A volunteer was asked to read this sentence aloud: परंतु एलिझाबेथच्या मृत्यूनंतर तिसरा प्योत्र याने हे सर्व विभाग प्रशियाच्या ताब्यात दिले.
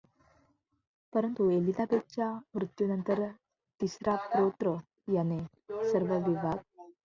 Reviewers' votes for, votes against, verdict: 0, 2, rejected